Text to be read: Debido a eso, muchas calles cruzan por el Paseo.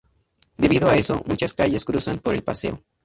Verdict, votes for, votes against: accepted, 2, 0